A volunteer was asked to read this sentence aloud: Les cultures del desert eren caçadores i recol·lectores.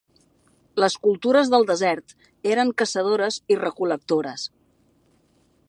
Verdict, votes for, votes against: accepted, 3, 0